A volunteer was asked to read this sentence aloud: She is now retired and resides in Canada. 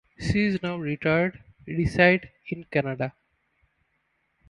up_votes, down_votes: 0, 2